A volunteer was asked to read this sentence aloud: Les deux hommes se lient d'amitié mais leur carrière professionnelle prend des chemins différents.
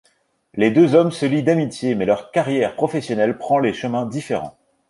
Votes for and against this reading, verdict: 1, 2, rejected